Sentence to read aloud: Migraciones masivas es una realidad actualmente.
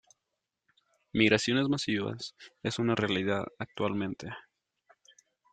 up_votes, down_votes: 2, 0